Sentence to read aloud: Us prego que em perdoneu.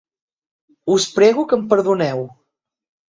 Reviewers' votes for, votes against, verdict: 3, 0, accepted